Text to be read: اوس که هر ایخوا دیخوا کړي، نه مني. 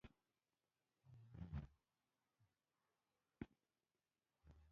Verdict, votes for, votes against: rejected, 1, 2